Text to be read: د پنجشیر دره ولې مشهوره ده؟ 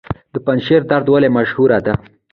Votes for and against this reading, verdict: 2, 0, accepted